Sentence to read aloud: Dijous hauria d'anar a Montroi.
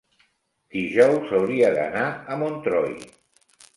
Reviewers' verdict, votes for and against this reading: accepted, 3, 1